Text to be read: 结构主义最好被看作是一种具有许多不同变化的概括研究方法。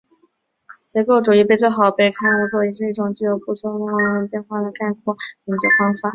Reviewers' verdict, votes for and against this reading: rejected, 0, 5